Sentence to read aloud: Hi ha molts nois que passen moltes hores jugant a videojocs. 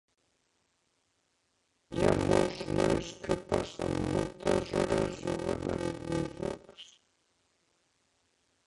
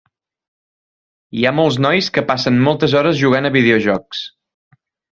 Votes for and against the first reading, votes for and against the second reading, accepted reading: 0, 2, 3, 0, second